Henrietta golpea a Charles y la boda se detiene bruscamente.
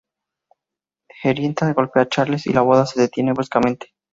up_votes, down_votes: 2, 0